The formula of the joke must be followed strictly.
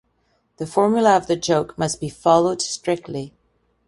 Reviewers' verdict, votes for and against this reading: accepted, 2, 0